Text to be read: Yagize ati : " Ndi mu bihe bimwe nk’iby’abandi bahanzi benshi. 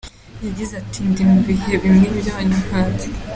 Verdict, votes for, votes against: rejected, 0, 2